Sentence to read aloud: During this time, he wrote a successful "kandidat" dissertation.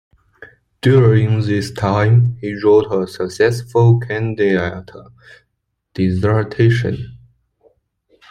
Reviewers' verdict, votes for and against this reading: rejected, 1, 2